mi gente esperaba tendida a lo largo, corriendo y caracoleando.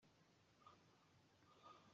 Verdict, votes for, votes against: rejected, 0, 2